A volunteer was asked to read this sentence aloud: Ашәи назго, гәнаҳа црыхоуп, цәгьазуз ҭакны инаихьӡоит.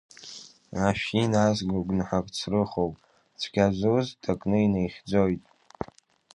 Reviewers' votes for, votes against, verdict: 2, 1, accepted